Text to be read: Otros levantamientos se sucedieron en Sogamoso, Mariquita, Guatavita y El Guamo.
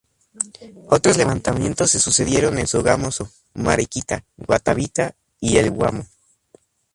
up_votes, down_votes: 0, 2